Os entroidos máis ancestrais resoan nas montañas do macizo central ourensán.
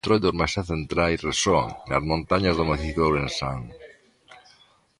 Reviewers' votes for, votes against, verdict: 0, 2, rejected